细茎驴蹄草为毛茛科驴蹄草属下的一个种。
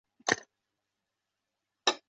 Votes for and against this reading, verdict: 0, 3, rejected